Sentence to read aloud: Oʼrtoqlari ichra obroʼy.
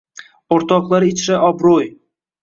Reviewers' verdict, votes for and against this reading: accepted, 2, 0